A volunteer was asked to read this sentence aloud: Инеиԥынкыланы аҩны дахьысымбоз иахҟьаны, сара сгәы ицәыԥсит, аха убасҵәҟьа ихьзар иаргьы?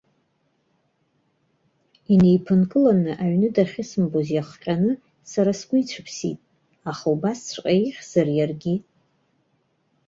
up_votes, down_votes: 3, 0